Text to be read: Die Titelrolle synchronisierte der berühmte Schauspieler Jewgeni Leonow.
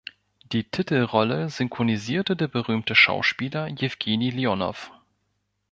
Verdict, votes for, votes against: rejected, 1, 2